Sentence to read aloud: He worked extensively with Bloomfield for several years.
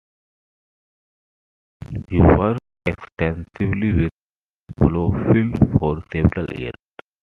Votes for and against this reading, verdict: 1, 2, rejected